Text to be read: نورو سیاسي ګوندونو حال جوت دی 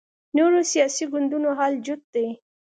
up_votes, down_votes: 2, 0